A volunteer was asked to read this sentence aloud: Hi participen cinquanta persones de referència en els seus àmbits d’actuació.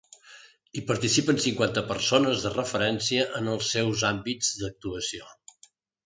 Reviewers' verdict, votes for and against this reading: accepted, 2, 0